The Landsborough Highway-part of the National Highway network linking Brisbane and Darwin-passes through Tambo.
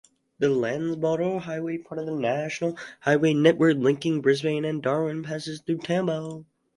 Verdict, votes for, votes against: rejected, 2, 4